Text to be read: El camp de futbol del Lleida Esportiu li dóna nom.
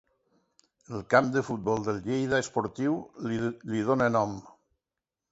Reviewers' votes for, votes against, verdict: 0, 2, rejected